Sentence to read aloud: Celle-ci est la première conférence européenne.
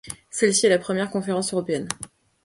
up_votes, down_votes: 2, 1